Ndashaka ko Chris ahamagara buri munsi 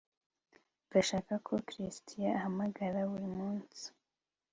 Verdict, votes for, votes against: accepted, 2, 0